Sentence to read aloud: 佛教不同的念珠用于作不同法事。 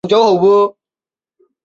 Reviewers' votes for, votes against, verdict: 0, 3, rejected